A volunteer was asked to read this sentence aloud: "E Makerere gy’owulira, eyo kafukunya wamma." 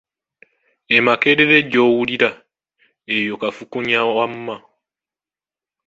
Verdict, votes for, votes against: accepted, 2, 1